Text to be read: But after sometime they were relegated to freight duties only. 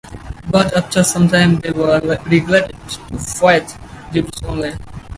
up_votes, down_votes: 0, 4